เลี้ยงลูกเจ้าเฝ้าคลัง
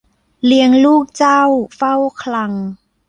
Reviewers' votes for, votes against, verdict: 2, 0, accepted